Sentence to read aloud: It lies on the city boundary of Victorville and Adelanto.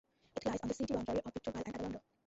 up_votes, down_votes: 0, 2